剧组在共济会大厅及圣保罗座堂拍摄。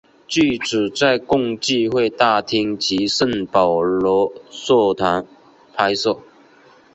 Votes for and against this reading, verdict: 4, 0, accepted